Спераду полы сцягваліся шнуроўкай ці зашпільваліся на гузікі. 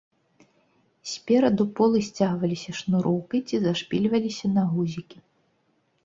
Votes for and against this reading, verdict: 2, 0, accepted